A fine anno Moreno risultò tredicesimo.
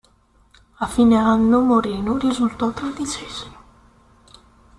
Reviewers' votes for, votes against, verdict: 1, 2, rejected